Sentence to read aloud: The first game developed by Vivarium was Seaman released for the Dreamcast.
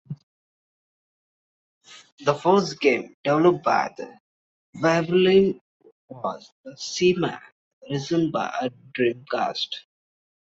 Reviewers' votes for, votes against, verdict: 1, 2, rejected